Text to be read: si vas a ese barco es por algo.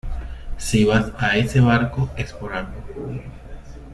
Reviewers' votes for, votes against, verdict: 2, 0, accepted